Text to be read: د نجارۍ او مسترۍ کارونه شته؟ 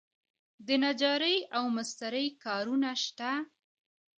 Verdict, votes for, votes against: rejected, 1, 2